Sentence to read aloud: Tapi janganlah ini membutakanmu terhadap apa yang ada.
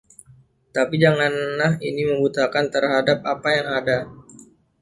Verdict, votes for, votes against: rejected, 1, 2